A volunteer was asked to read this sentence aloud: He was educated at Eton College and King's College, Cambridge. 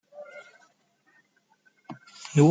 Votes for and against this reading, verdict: 0, 2, rejected